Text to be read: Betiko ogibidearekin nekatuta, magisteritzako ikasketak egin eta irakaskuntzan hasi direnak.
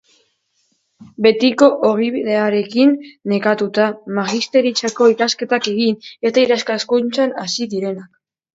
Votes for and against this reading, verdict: 0, 2, rejected